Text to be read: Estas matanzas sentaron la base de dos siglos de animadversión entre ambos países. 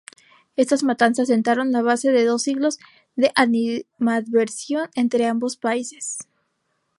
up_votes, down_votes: 0, 2